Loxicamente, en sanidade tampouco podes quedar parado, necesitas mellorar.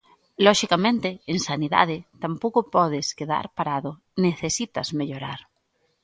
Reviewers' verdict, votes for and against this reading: accepted, 2, 0